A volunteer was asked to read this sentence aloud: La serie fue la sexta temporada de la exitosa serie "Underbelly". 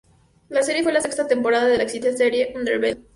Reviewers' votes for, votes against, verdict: 0, 2, rejected